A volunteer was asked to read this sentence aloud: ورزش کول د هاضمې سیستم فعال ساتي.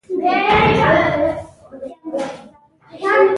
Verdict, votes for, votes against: rejected, 1, 2